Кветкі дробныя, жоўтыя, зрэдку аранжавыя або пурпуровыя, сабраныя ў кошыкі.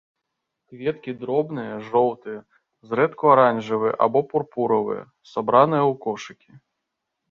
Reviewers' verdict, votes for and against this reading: rejected, 0, 2